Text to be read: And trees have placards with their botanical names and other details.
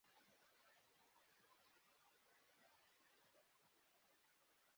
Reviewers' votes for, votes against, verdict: 0, 2, rejected